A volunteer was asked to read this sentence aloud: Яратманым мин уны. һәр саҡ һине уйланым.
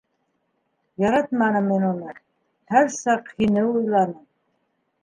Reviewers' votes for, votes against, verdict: 2, 0, accepted